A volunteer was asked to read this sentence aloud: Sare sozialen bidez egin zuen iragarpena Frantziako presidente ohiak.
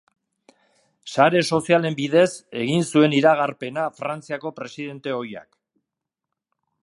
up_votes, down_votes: 2, 0